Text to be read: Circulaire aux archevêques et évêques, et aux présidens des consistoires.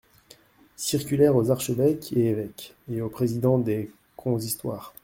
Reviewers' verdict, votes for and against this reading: rejected, 0, 2